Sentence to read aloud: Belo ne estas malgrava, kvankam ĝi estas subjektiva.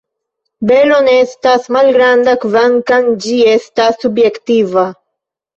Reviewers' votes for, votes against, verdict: 1, 2, rejected